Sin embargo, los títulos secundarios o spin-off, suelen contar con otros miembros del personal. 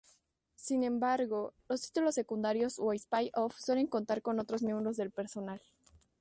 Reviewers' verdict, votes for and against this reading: rejected, 0, 2